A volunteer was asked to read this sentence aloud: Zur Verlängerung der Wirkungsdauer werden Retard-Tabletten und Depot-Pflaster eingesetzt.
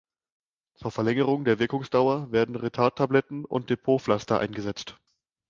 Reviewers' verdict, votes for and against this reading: accepted, 2, 0